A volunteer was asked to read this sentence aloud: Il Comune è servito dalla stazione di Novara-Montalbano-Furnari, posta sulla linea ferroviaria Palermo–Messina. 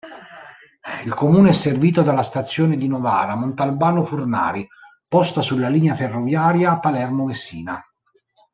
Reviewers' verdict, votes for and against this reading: accepted, 2, 0